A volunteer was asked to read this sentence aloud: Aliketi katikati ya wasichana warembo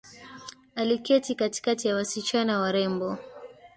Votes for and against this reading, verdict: 1, 2, rejected